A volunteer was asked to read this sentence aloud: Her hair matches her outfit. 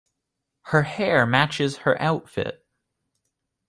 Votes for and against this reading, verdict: 2, 0, accepted